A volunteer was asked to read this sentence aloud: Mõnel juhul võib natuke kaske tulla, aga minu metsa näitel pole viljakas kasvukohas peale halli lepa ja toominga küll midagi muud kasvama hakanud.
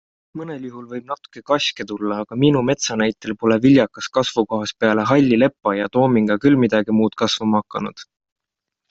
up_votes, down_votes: 2, 0